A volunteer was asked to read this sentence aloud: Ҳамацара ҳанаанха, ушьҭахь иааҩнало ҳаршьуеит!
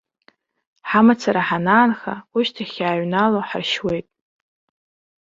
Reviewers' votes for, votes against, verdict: 2, 0, accepted